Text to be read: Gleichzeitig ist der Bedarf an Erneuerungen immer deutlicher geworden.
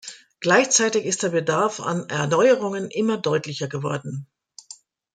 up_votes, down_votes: 2, 0